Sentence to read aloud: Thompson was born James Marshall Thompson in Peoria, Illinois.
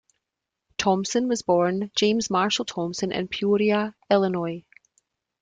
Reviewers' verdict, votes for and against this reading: accepted, 3, 0